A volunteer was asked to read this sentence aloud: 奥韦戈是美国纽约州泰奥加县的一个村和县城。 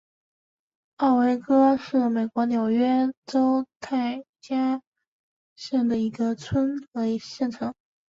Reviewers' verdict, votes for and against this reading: rejected, 1, 3